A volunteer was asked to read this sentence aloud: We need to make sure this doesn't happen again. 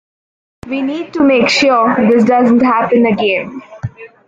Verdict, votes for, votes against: accepted, 2, 0